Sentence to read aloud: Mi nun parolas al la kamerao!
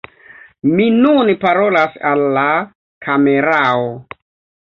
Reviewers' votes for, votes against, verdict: 2, 1, accepted